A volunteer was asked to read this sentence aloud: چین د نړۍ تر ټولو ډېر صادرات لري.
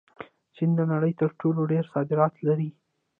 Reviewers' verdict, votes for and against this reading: accepted, 2, 1